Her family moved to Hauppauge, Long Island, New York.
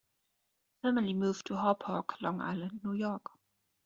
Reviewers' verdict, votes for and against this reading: rejected, 1, 2